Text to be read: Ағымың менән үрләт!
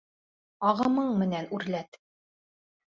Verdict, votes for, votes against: rejected, 1, 2